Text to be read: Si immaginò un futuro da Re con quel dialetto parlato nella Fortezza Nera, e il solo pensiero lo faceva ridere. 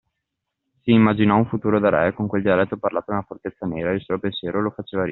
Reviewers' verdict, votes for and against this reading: rejected, 1, 2